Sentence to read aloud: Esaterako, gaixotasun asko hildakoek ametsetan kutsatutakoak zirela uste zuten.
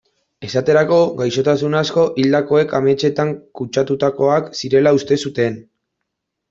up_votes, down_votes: 2, 0